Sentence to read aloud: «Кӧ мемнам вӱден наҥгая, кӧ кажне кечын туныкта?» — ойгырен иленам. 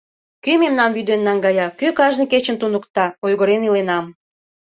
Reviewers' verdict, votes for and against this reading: accepted, 2, 0